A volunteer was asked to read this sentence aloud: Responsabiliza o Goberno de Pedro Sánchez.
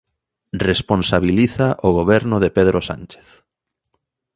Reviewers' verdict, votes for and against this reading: accepted, 2, 0